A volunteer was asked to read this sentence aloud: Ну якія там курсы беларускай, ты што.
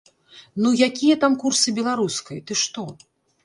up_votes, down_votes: 2, 0